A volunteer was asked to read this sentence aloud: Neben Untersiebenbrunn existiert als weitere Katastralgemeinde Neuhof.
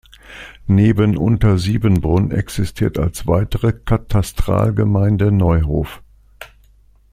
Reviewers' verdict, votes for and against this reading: accepted, 2, 0